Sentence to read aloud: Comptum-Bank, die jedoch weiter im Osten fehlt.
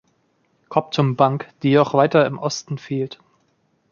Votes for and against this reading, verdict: 3, 1, accepted